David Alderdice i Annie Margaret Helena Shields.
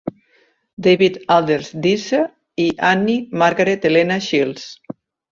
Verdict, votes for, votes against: rejected, 0, 2